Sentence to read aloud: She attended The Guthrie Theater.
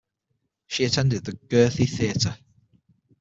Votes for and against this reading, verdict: 0, 6, rejected